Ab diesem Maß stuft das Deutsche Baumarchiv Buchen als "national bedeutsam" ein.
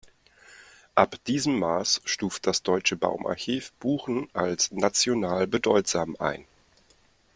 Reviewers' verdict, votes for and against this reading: accepted, 2, 0